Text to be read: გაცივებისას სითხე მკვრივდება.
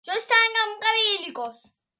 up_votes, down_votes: 0, 2